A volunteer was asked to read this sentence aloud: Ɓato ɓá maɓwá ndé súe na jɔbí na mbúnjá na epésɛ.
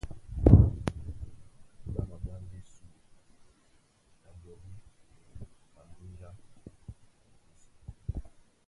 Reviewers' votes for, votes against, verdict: 0, 2, rejected